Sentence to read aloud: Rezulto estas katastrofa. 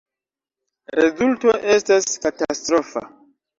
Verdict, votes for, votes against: rejected, 0, 2